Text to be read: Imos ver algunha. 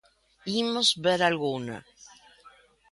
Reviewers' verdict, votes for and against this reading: rejected, 1, 2